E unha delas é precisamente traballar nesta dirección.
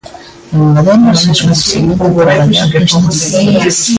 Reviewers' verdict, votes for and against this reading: rejected, 0, 2